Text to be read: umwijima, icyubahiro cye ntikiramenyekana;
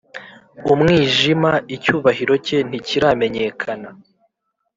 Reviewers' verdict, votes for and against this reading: accepted, 2, 0